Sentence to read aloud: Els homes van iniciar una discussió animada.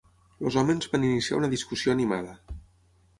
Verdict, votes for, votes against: accepted, 6, 0